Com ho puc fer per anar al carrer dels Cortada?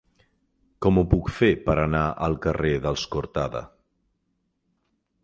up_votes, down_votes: 6, 0